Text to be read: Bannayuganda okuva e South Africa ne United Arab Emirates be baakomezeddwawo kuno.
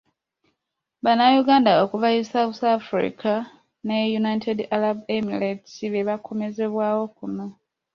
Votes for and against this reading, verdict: 1, 2, rejected